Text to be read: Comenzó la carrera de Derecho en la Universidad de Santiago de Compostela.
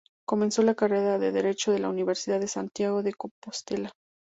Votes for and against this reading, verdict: 2, 2, rejected